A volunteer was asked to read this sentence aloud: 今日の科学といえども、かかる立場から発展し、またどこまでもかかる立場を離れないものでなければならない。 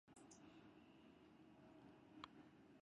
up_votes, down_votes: 0, 3